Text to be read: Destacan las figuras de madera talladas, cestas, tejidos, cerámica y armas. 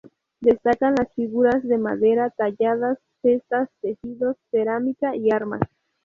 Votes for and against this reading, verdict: 2, 0, accepted